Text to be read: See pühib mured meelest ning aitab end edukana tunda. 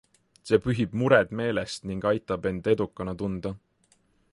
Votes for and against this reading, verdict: 3, 0, accepted